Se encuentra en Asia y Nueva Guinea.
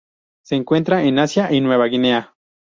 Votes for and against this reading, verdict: 4, 0, accepted